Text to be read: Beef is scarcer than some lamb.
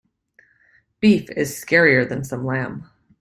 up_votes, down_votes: 0, 2